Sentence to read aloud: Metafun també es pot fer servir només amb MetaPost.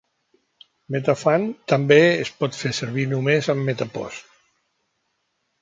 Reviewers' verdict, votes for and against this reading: accepted, 2, 0